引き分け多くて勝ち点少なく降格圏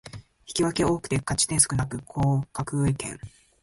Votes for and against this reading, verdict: 1, 2, rejected